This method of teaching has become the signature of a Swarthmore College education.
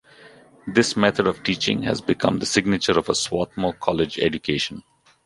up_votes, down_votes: 2, 0